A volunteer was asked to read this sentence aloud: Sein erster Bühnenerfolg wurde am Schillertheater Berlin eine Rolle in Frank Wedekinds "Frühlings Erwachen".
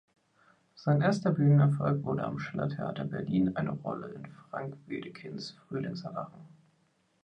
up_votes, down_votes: 2, 0